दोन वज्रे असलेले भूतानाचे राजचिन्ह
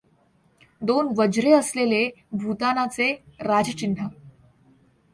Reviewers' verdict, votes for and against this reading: accepted, 2, 0